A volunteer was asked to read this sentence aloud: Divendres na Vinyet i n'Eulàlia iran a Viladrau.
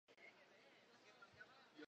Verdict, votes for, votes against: rejected, 0, 2